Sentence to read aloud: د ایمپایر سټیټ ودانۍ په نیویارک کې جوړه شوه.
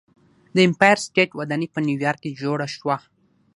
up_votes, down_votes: 3, 3